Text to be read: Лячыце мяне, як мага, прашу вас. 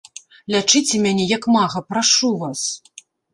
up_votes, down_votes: 1, 2